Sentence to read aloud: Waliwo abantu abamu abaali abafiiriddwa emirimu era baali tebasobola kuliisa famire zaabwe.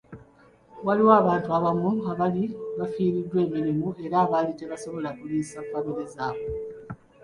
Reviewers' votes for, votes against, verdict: 2, 1, accepted